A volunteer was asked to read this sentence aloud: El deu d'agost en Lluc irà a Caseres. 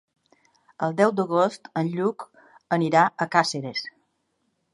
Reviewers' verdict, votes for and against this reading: rejected, 1, 2